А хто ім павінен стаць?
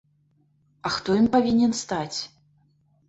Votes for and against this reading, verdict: 2, 0, accepted